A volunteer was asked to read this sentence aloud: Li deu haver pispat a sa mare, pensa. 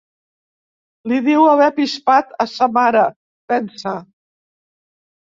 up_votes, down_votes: 1, 2